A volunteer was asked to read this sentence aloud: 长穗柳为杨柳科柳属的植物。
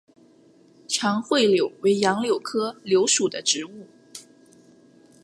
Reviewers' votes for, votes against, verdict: 2, 0, accepted